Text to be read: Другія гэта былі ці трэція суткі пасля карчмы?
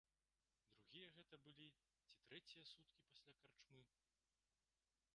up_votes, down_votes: 2, 1